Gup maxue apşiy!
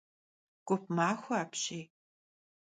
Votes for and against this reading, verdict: 2, 0, accepted